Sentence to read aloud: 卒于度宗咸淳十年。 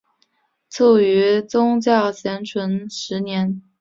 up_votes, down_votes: 3, 1